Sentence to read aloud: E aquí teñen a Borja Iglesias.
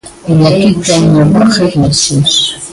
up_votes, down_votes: 0, 2